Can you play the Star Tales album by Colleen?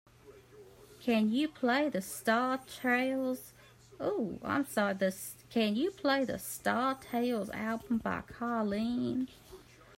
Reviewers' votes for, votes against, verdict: 0, 2, rejected